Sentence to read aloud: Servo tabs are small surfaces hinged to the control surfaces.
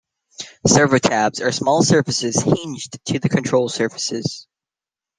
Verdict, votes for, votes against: accepted, 2, 1